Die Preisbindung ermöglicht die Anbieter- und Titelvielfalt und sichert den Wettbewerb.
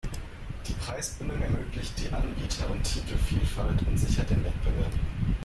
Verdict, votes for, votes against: accepted, 2, 1